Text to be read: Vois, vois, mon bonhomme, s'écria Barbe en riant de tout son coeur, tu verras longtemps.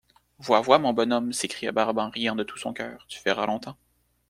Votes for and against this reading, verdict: 2, 0, accepted